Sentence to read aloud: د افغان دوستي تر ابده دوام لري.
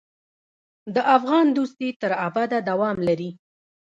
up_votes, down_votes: 1, 2